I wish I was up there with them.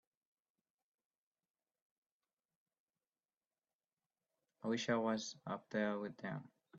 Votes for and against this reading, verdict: 0, 2, rejected